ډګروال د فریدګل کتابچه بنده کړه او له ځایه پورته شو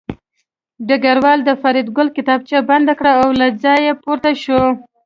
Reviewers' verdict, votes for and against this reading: accepted, 2, 0